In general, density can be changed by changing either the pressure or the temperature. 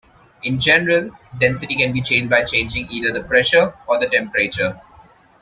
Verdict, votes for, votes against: accepted, 2, 0